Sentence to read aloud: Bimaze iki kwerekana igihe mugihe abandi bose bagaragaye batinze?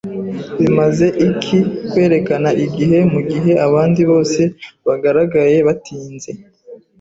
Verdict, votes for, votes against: accepted, 2, 0